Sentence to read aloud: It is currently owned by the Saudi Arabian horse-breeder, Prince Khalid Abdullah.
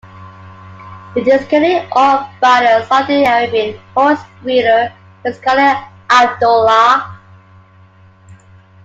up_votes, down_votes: 1, 2